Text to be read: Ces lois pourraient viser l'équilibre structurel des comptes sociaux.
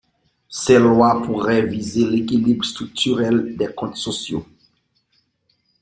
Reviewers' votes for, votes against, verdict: 3, 2, accepted